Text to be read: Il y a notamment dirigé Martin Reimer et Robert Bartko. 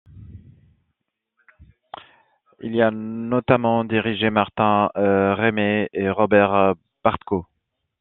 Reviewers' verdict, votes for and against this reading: rejected, 1, 2